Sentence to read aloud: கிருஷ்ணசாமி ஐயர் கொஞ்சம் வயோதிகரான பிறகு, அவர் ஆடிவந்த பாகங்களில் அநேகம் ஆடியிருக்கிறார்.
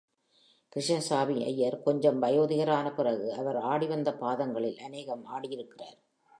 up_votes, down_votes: 3, 0